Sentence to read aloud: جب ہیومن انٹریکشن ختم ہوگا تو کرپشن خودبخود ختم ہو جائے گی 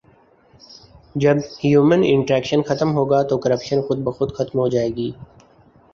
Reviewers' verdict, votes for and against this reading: accepted, 2, 0